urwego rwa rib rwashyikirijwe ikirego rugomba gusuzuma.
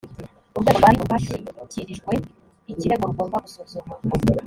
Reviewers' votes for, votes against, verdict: 0, 2, rejected